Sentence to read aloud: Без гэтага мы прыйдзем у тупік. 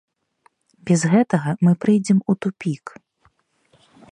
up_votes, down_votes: 0, 2